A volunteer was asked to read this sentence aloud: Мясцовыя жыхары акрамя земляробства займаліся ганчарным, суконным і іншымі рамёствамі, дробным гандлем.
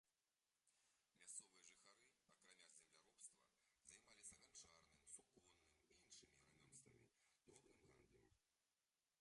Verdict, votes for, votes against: accepted, 2, 1